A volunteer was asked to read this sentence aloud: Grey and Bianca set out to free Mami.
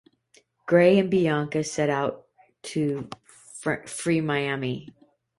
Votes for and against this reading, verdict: 0, 2, rejected